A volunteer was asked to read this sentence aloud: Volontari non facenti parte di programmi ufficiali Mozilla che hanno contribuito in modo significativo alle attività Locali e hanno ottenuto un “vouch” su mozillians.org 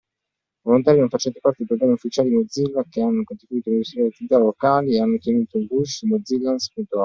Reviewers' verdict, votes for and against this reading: rejected, 0, 2